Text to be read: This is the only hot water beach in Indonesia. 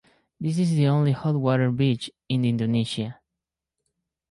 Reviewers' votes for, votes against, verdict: 4, 0, accepted